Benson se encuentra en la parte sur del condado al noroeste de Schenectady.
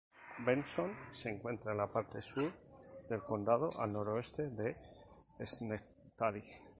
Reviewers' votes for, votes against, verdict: 0, 4, rejected